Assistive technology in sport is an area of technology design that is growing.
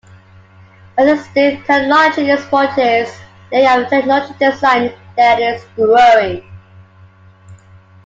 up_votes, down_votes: 2, 1